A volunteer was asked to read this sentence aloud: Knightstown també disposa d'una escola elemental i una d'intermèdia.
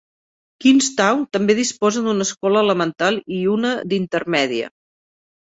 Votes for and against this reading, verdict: 2, 0, accepted